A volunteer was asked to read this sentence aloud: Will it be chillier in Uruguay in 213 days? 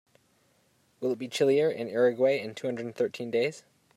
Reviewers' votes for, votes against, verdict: 0, 2, rejected